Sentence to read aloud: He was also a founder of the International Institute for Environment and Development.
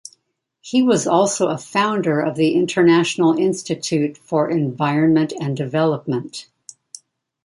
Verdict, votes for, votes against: accepted, 2, 0